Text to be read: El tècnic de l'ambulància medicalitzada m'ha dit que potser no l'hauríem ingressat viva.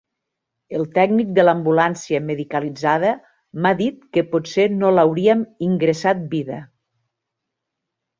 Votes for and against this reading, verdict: 1, 2, rejected